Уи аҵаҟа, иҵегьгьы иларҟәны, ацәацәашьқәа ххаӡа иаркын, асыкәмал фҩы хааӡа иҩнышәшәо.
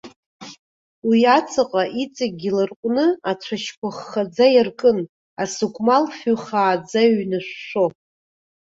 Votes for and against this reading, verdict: 0, 2, rejected